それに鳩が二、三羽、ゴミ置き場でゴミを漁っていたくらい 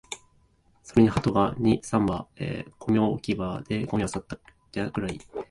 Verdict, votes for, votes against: accepted, 2, 1